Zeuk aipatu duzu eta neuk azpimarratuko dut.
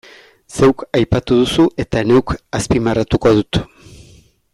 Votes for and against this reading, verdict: 2, 0, accepted